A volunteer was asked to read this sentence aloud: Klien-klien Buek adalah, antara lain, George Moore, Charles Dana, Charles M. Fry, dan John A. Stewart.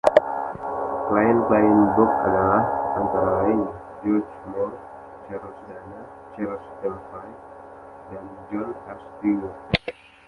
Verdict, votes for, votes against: rejected, 0, 2